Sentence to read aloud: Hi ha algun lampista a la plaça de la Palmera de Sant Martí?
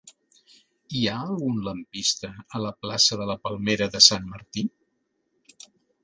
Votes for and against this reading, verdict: 2, 0, accepted